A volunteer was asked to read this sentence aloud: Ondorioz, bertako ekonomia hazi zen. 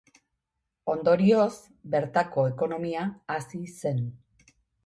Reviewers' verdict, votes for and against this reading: accepted, 2, 1